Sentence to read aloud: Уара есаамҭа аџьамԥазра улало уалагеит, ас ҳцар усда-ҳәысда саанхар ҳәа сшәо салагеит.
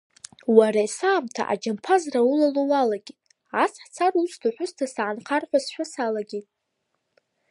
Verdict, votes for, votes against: rejected, 1, 2